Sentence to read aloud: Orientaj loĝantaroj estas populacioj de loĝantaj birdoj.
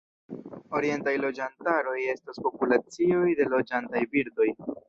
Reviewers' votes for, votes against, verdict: 0, 2, rejected